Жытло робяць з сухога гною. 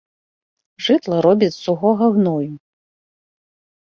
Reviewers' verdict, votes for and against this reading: rejected, 0, 2